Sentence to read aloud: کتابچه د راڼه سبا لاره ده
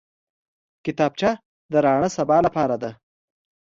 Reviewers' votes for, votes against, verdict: 2, 1, accepted